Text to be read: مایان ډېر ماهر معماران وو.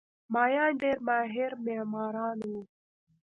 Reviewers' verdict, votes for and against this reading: rejected, 1, 2